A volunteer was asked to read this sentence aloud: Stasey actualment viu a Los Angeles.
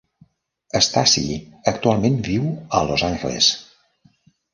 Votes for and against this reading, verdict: 1, 2, rejected